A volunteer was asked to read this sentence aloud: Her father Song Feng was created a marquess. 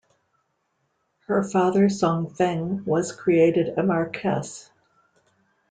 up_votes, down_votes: 3, 0